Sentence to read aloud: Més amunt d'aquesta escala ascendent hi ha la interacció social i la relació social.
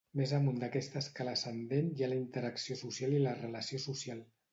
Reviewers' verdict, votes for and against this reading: accepted, 2, 0